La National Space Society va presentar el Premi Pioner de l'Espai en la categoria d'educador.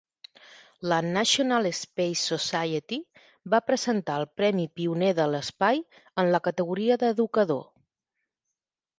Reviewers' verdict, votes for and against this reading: accepted, 5, 0